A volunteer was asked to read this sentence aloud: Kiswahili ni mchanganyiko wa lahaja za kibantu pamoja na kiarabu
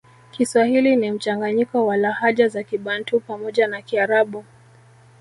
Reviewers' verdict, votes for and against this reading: accepted, 3, 0